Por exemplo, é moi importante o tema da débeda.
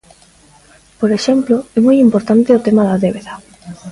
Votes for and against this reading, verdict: 2, 1, accepted